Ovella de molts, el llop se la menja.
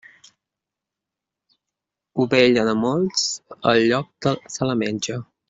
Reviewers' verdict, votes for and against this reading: rejected, 0, 2